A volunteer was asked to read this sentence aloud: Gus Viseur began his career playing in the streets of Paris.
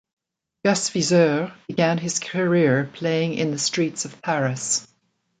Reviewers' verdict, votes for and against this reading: accepted, 2, 0